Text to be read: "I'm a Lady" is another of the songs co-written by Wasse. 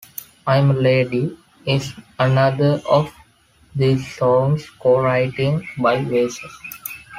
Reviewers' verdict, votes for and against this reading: rejected, 1, 2